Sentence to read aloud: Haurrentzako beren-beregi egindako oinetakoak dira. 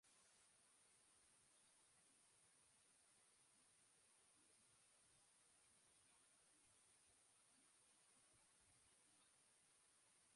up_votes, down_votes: 0, 2